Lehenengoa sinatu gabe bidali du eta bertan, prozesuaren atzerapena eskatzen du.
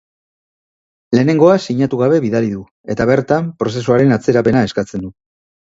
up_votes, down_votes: 4, 1